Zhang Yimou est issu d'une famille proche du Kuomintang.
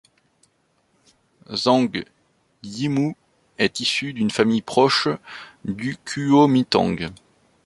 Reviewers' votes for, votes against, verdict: 1, 2, rejected